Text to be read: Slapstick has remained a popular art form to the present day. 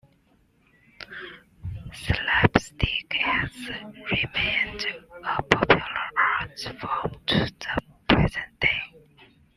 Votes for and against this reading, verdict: 1, 2, rejected